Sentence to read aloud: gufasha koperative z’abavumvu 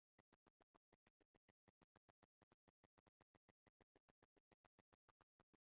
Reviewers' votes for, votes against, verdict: 0, 2, rejected